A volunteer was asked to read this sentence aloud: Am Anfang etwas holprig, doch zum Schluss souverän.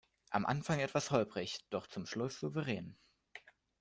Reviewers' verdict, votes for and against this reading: accepted, 2, 0